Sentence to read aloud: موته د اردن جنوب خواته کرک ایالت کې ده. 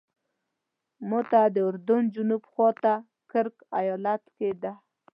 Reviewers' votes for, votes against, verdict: 2, 1, accepted